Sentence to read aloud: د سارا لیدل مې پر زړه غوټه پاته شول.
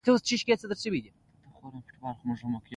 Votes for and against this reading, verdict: 0, 2, rejected